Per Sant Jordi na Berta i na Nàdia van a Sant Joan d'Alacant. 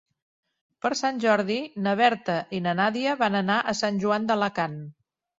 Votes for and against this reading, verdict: 0, 2, rejected